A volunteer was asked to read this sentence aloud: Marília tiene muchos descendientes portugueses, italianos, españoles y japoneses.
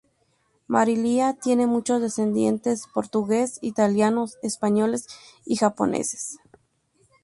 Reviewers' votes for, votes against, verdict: 0, 4, rejected